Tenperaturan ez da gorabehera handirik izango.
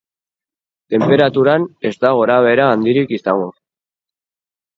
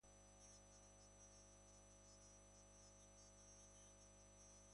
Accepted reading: first